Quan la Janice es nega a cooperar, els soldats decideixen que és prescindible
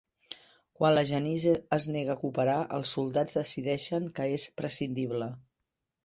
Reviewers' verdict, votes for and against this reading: accepted, 3, 1